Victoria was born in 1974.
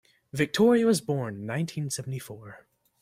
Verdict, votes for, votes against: rejected, 0, 2